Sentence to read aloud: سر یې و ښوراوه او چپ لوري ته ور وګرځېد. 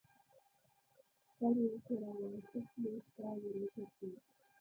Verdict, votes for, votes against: rejected, 0, 2